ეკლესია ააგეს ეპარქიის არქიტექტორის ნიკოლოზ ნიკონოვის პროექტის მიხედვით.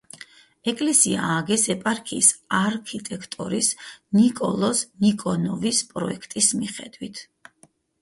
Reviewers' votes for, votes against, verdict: 4, 0, accepted